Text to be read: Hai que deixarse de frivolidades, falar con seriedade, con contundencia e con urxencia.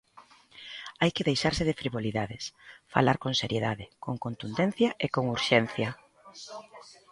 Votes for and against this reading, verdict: 0, 2, rejected